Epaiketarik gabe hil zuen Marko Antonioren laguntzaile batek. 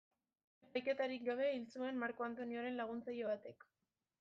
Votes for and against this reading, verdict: 1, 2, rejected